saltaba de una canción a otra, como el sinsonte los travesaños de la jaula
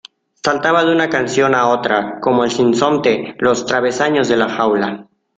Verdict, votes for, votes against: accepted, 2, 0